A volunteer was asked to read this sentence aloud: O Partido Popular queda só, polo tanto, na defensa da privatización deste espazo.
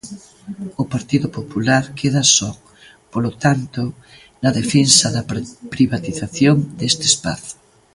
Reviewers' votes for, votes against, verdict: 0, 2, rejected